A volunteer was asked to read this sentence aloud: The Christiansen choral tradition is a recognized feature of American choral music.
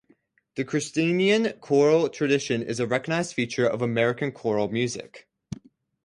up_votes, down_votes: 0, 4